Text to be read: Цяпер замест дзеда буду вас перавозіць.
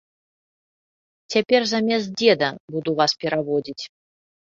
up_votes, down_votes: 0, 2